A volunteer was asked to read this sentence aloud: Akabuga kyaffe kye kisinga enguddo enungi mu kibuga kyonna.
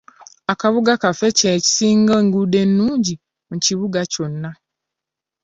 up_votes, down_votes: 1, 2